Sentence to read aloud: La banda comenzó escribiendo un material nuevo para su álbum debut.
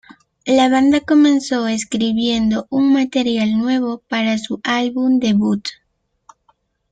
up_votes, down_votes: 2, 0